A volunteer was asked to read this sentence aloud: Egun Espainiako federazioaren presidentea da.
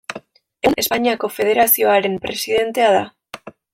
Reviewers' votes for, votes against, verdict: 2, 0, accepted